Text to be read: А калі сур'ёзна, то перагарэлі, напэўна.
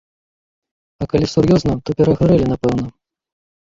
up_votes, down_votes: 2, 0